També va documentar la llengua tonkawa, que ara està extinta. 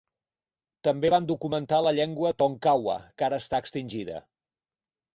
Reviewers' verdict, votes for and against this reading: rejected, 2, 4